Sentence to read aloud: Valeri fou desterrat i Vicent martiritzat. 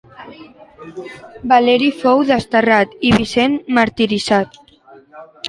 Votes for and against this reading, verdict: 1, 2, rejected